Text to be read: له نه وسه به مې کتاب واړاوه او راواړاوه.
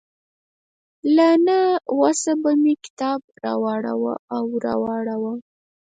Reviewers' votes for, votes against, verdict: 2, 4, rejected